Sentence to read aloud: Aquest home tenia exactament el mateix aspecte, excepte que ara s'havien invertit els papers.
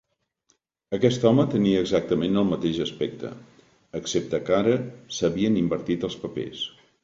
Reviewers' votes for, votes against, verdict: 2, 0, accepted